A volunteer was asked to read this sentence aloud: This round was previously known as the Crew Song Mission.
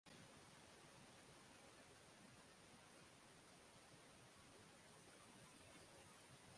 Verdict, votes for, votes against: rejected, 0, 6